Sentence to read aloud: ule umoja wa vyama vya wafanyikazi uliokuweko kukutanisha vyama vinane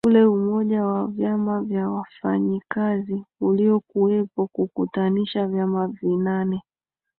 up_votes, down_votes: 3, 2